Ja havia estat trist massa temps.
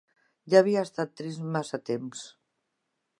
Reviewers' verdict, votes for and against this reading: accepted, 4, 0